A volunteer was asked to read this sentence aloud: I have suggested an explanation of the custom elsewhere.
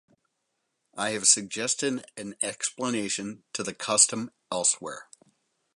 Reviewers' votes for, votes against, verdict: 0, 4, rejected